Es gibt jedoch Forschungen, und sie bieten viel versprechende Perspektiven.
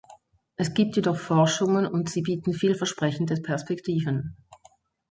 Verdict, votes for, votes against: accepted, 2, 0